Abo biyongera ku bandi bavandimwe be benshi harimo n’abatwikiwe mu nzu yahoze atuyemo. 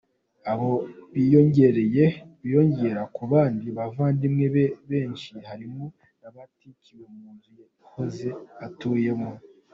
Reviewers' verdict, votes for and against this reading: accepted, 2, 0